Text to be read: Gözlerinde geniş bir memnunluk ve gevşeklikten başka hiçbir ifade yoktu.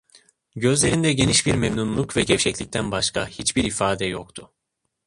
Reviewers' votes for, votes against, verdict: 2, 0, accepted